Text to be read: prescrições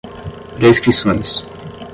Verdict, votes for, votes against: rejected, 5, 5